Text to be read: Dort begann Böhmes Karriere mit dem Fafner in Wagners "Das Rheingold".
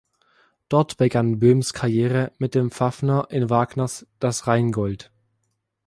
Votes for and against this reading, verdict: 0, 2, rejected